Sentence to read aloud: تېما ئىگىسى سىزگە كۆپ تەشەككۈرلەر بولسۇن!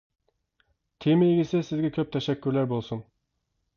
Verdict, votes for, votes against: accepted, 2, 1